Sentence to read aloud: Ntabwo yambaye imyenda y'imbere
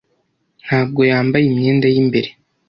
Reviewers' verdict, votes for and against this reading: accepted, 2, 0